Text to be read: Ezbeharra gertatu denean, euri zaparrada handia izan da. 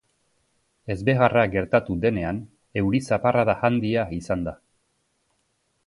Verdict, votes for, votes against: accepted, 2, 0